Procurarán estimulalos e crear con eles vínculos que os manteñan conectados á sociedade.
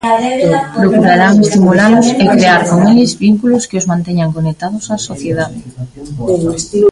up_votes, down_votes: 0, 2